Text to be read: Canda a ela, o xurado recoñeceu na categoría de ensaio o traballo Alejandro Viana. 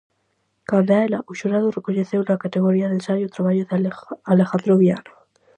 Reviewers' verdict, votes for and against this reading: rejected, 0, 4